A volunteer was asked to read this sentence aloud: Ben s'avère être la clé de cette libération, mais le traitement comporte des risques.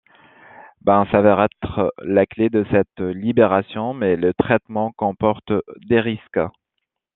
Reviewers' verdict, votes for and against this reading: accepted, 2, 1